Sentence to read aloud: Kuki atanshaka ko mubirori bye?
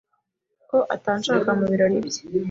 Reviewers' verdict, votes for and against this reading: rejected, 0, 2